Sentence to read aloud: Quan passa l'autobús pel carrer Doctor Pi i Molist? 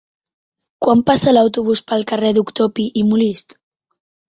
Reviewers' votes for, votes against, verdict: 2, 0, accepted